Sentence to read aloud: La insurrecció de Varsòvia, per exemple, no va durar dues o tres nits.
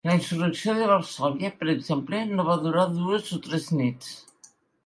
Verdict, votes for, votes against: accepted, 3, 0